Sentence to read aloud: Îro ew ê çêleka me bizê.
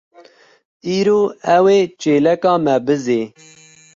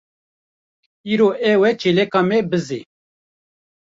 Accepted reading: first